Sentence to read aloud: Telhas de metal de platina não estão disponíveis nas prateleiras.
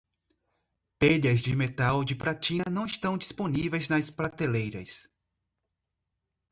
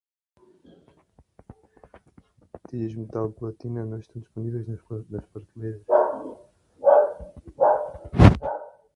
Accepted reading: first